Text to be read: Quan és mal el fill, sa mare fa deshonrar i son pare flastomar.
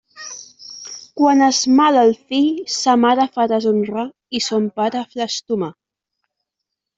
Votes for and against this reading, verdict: 1, 2, rejected